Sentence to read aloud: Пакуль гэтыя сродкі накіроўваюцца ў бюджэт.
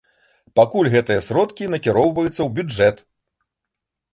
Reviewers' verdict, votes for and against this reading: accepted, 2, 0